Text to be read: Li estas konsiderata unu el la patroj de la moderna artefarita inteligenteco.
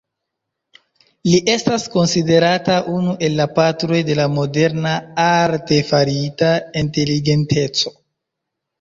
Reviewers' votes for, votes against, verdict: 1, 2, rejected